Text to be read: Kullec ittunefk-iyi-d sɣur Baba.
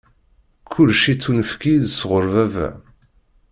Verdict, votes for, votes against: accepted, 2, 0